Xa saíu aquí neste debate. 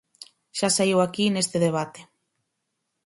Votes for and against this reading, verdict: 4, 0, accepted